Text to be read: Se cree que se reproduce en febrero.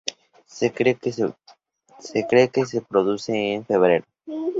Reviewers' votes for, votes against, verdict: 0, 2, rejected